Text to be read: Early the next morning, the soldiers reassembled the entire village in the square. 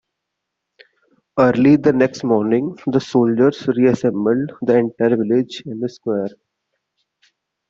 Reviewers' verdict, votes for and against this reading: accepted, 2, 1